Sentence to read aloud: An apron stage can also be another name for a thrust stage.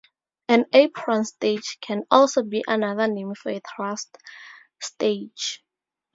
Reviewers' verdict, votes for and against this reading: accepted, 2, 0